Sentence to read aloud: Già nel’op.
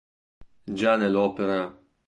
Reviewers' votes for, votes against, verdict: 1, 2, rejected